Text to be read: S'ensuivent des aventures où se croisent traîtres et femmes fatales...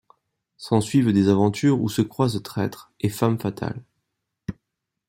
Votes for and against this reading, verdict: 2, 0, accepted